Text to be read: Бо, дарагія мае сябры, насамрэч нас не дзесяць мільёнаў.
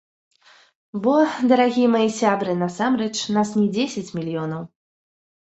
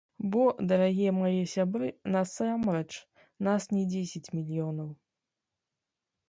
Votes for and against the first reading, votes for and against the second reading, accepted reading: 2, 1, 1, 2, first